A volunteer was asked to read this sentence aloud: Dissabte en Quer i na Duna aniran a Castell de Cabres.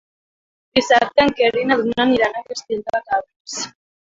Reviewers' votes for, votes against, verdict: 2, 3, rejected